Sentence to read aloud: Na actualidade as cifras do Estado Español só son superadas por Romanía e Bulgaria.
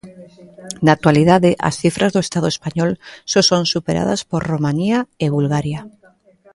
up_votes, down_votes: 0, 2